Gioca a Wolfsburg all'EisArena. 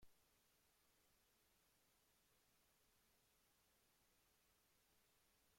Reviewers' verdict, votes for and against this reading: rejected, 0, 2